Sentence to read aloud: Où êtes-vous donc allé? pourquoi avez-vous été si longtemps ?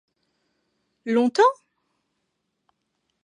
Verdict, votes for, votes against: rejected, 0, 2